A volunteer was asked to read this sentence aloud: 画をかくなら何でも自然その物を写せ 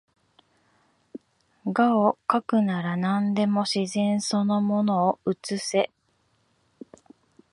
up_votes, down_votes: 0, 2